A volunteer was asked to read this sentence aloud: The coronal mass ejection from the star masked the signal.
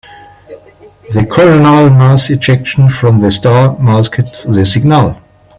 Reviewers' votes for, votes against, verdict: 2, 0, accepted